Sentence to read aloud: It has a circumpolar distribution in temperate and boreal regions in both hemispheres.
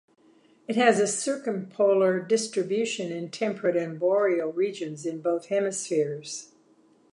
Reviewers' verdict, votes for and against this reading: accepted, 2, 0